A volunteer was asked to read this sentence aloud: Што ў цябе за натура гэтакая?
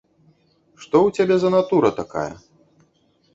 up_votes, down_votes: 0, 2